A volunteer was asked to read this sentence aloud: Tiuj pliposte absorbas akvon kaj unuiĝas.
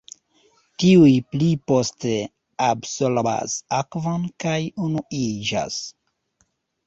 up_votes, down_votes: 1, 2